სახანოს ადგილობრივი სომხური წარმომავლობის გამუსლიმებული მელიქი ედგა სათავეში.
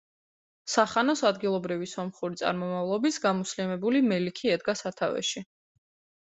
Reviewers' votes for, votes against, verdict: 2, 0, accepted